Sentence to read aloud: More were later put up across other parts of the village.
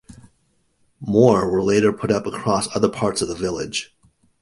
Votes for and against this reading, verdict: 2, 0, accepted